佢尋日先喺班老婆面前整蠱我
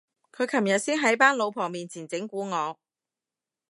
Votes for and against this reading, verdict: 1, 2, rejected